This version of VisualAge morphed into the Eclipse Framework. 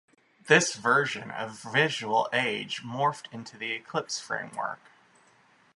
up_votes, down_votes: 2, 0